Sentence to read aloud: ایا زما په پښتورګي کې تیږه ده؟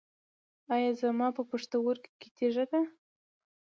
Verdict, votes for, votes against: accepted, 2, 0